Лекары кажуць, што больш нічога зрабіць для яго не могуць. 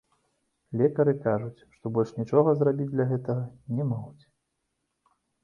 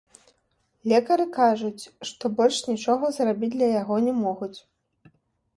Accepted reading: second